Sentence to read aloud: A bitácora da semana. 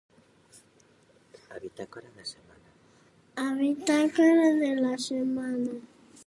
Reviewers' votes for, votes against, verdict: 0, 2, rejected